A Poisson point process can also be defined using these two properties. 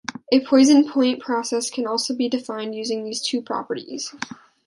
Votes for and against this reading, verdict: 1, 2, rejected